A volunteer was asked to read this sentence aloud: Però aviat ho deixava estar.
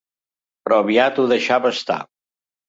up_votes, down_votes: 3, 0